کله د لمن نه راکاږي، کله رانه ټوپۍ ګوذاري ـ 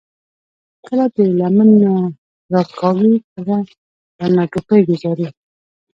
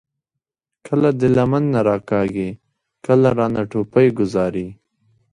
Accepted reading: second